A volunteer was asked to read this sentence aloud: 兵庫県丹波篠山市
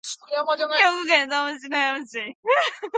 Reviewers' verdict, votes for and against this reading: rejected, 2, 3